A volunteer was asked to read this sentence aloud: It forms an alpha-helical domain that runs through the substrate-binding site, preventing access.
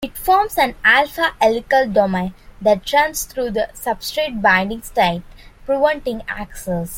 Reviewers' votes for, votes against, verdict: 0, 2, rejected